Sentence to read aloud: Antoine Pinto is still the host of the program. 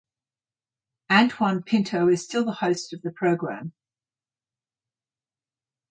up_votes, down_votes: 3, 3